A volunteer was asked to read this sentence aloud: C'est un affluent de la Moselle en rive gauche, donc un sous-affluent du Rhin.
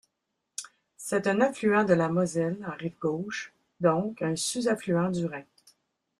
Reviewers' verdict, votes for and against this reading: accepted, 2, 0